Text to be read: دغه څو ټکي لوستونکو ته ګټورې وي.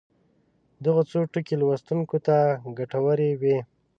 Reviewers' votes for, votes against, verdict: 2, 0, accepted